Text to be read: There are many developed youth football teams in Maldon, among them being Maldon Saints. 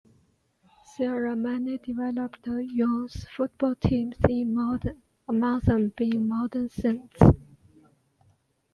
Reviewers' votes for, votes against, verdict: 1, 2, rejected